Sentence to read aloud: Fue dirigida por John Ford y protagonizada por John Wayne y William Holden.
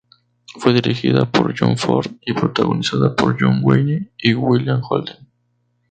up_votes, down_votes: 2, 2